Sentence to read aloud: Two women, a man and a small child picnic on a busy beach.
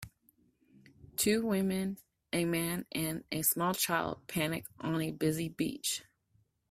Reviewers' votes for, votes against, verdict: 0, 2, rejected